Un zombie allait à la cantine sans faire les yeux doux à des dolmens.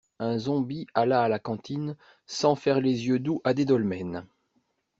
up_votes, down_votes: 1, 2